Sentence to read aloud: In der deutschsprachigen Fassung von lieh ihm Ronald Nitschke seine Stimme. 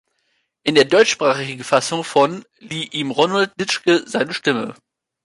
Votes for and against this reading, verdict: 0, 2, rejected